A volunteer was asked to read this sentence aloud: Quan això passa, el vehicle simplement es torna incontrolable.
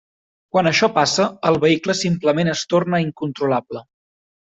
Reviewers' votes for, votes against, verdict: 3, 0, accepted